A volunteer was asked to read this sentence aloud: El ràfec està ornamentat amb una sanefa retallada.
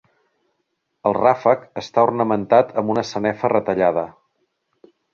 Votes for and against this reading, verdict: 2, 0, accepted